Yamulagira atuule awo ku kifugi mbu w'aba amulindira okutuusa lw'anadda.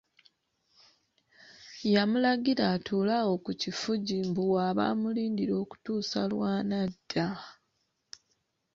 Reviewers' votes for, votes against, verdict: 2, 1, accepted